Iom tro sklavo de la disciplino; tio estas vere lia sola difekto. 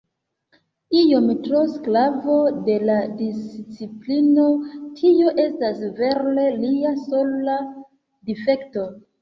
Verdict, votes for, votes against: rejected, 0, 2